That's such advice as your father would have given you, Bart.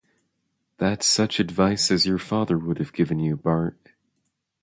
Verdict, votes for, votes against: accepted, 2, 0